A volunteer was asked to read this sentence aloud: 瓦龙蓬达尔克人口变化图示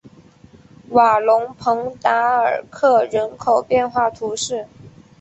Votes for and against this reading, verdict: 2, 0, accepted